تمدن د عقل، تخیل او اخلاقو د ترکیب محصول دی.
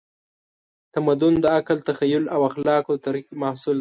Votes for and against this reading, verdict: 0, 2, rejected